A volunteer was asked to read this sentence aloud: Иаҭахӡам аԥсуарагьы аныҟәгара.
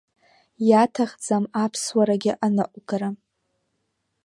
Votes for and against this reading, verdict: 2, 1, accepted